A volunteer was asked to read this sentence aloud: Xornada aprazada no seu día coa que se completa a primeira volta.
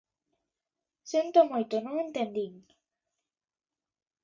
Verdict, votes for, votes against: rejected, 0, 2